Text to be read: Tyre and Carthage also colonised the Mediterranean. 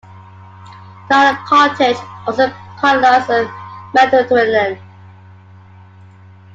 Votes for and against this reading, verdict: 0, 2, rejected